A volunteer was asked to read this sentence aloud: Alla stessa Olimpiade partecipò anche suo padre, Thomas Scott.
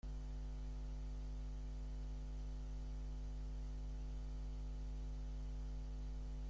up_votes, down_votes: 0, 2